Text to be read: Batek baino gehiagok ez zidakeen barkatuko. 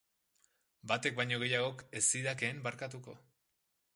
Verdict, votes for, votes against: accepted, 3, 0